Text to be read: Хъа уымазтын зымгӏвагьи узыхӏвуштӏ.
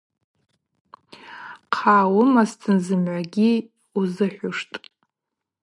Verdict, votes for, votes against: rejected, 2, 2